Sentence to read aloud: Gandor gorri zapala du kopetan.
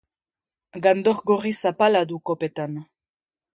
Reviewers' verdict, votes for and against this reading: accepted, 3, 0